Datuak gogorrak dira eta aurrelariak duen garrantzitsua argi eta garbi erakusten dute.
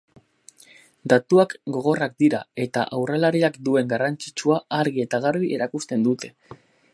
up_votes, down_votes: 0, 4